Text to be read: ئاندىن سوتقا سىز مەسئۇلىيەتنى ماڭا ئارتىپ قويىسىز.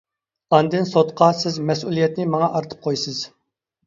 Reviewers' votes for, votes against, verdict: 2, 0, accepted